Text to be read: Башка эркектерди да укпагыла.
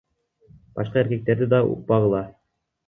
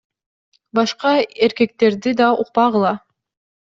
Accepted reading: second